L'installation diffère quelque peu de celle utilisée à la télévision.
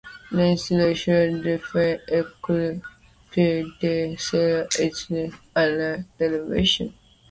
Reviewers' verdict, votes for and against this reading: rejected, 0, 2